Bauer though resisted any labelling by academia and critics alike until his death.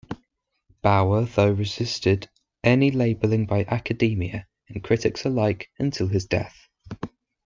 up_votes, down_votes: 2, 0